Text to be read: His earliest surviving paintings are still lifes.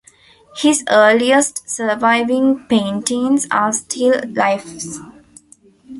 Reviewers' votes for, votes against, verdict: 2, 0, accepted